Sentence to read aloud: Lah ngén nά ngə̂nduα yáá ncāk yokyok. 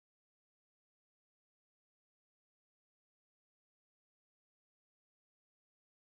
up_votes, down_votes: 2, 0